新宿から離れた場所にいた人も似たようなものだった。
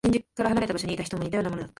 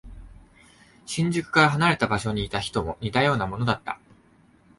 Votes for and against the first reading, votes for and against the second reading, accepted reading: 1, 2, 4, 1, second